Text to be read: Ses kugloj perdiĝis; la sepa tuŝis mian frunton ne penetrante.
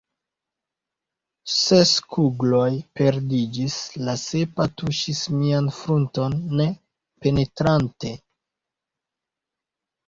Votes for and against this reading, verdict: 1, 2, rejected